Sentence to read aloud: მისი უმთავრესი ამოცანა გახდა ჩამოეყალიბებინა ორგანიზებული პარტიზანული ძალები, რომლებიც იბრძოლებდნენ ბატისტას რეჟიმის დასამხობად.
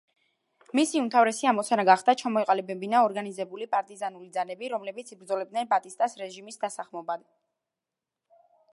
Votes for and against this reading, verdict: 0, 2, rejected